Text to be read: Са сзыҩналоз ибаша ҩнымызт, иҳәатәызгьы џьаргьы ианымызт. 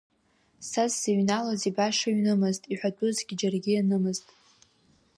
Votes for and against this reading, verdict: 2, 1, accepted